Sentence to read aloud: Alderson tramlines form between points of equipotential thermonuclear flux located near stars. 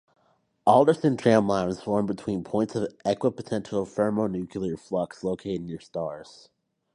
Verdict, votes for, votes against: rejected, 0, 2